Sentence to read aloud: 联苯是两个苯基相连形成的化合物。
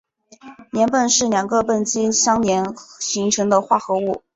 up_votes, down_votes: 2, 0